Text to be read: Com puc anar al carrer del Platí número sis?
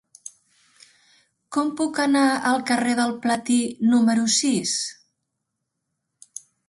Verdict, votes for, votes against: accepted, 3, 1